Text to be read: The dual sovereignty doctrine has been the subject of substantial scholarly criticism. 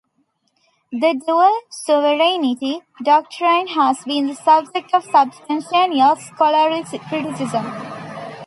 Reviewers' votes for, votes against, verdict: 1, 2, rejected